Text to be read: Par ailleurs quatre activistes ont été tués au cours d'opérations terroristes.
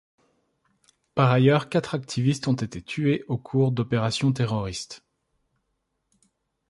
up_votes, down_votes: 2, 1